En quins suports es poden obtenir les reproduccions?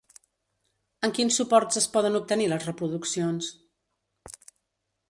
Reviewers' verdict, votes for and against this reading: accepted, 2, 0